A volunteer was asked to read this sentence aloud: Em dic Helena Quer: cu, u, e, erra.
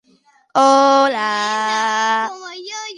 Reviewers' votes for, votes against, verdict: 0, 2, rejected